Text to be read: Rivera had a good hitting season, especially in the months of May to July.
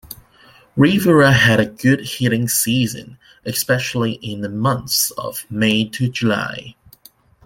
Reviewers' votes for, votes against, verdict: 1, 2, rejected